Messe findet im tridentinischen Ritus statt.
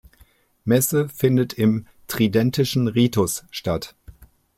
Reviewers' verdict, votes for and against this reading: rejected, 1, 2